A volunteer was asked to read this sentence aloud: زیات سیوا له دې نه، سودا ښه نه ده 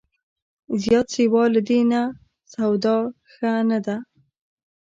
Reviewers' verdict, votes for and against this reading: accepted, 2, 0